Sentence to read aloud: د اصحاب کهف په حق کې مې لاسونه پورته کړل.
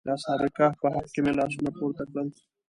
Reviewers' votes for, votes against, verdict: 0, 2, rejected